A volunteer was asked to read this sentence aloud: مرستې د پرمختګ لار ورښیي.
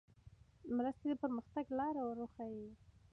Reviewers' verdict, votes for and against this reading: rejected, 0, 2